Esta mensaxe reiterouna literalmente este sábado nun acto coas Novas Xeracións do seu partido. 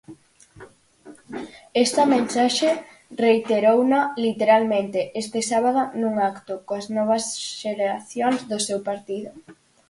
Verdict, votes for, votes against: accepted, 4, 0